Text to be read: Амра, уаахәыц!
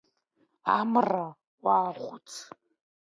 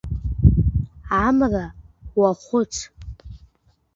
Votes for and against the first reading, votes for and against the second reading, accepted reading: 2, 0, 1, 2, first